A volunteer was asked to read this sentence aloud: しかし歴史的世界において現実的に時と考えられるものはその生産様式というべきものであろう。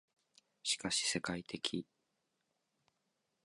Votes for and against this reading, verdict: 0, 2, rejected